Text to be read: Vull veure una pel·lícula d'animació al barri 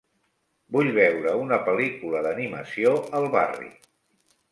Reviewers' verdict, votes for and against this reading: accepted, 3, 0